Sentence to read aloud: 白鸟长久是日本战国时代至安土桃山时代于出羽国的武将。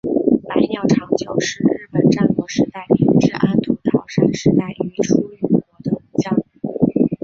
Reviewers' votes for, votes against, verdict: 1, 3, rejected